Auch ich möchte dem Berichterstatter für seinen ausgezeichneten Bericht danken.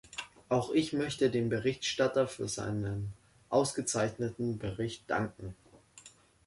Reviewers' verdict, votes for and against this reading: rejected, 1, 3